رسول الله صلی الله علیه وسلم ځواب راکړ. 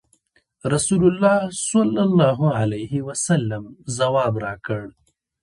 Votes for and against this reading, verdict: 1, 2, rejected